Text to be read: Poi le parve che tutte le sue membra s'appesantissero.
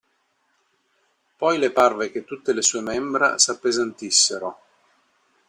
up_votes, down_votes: 2, 0